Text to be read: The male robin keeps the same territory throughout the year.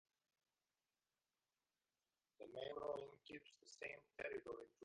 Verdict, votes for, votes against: rejected, 1, 2